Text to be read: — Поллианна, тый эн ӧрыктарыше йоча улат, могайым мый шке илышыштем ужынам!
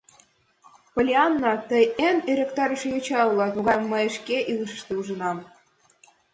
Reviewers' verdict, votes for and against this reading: accepted, 2, 1